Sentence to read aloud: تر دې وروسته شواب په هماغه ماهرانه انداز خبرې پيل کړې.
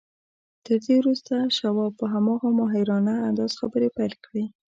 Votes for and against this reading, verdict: 1, 2, rejected